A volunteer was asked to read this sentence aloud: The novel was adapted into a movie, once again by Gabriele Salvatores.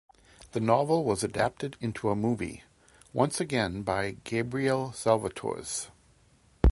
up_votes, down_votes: 2, 0